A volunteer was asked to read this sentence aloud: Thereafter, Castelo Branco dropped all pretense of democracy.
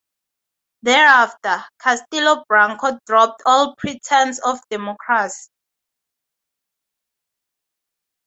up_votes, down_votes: 2, 0